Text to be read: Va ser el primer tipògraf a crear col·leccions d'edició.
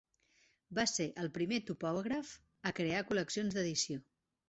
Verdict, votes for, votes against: rejected, 0, 2